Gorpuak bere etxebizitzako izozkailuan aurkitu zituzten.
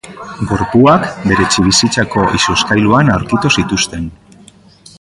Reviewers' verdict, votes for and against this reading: accepted, 2, 1